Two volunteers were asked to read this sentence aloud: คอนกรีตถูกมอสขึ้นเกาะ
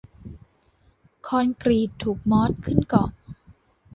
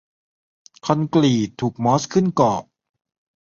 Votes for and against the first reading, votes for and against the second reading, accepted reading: 3, 0, 0, 2, first